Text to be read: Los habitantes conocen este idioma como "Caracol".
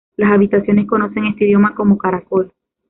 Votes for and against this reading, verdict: 0, 2, rejected